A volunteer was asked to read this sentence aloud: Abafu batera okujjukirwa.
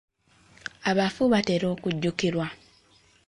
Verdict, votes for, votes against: accepted, 2, 0